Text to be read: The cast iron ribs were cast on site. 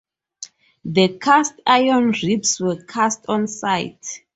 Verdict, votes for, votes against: accepted, 4, 0